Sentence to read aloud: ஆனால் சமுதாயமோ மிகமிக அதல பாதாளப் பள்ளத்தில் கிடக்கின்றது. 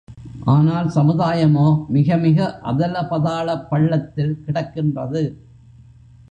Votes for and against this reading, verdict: 0, 2, rejected